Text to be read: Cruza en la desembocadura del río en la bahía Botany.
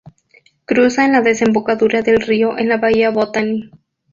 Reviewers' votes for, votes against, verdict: 4, 0, accepted